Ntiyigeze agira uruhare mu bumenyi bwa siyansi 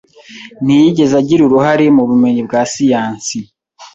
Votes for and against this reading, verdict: 2, 0, accepted